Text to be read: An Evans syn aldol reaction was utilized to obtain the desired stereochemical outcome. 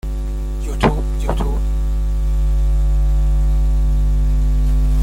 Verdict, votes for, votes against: rejected, 0, 2